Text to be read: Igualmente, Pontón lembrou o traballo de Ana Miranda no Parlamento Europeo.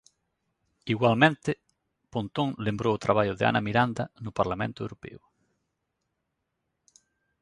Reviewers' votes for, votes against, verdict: 2, 0, accepted